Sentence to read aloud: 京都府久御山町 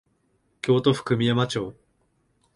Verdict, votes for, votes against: accepted, 2, 0